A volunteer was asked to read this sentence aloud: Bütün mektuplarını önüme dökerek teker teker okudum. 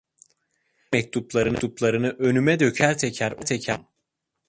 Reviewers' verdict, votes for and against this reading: rejected, 0, 2